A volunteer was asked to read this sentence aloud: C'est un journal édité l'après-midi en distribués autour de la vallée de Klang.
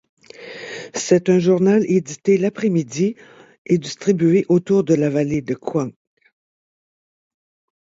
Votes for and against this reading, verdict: 4, 2, accepted